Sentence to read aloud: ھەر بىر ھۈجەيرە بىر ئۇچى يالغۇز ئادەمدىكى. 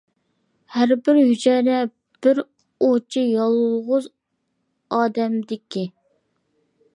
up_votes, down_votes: 1, 2